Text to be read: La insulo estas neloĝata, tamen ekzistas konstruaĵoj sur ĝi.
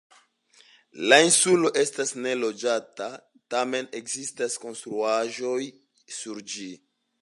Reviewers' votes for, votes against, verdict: 2, 0, accepted